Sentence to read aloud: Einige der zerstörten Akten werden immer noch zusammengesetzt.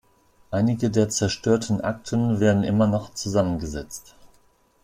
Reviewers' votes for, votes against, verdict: 2, 0, accepted